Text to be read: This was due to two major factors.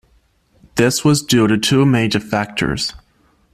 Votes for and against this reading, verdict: 2, 0, accepted